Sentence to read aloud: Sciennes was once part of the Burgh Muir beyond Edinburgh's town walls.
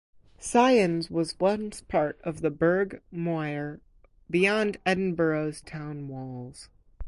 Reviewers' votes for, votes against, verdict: 4, 0, accepted